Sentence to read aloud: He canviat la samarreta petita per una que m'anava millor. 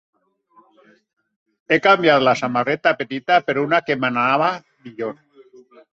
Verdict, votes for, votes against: accepted, 2, 0